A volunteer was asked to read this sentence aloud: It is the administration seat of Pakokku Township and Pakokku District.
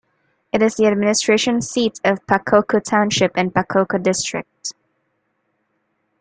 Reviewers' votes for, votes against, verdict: 3, 0, accepted